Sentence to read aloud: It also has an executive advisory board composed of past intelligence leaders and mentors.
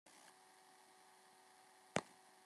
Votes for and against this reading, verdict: 0, 2, rejected